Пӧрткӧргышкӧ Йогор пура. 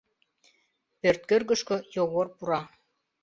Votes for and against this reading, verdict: 2, 0, accepted